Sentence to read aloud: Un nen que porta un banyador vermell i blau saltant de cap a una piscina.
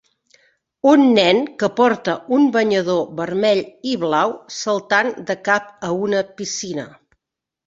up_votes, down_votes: 3, 0